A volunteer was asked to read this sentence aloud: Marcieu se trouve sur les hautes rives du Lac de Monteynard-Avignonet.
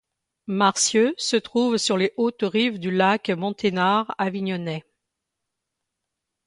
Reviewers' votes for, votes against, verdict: 1, 2, rejected